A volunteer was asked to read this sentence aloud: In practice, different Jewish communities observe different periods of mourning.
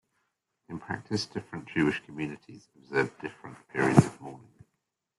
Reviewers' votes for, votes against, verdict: 0, 2, rejected